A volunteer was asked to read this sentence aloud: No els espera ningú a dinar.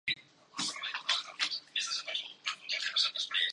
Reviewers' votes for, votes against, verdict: 0, 2, rejected